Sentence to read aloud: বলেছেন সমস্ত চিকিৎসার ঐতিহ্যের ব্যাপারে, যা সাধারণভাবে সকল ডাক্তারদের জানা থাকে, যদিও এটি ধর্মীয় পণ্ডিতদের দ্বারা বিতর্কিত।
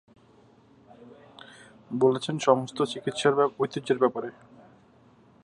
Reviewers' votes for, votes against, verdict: 1, 16, rejected